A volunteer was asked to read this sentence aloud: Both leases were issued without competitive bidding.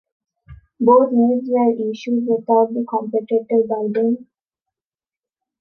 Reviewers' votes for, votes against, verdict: 0, 2, rejected